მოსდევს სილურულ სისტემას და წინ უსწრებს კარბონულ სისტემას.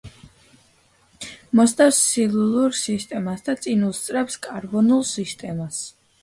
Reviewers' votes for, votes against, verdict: 2, 1, accepted